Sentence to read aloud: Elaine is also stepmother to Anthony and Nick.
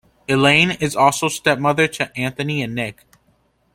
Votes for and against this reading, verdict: 2, 0, accepted